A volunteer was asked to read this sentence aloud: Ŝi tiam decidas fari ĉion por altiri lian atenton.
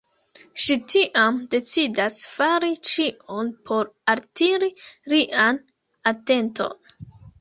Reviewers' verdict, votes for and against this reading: rejected, 2, 3